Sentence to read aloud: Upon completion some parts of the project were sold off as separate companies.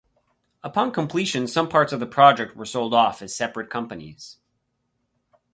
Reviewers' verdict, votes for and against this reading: accepted, 4, 0